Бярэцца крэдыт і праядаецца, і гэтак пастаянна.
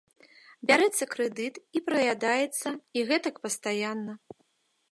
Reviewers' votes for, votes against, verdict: 2, 1, accepted